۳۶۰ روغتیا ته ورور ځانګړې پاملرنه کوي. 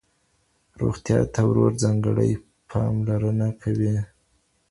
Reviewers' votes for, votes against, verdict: 0, 2, rejected